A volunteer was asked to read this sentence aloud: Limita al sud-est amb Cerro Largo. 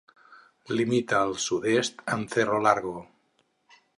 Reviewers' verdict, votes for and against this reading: accepted, 8, 0